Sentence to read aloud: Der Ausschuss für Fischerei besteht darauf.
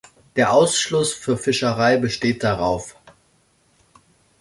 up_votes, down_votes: 1, 2